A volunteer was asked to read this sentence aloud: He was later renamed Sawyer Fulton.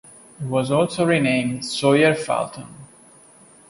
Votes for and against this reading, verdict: 0, 2, rejected